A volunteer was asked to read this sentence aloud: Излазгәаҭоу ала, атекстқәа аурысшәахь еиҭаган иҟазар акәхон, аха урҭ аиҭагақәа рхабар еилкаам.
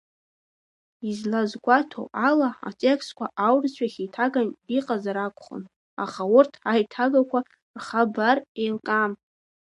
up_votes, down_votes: 2, 1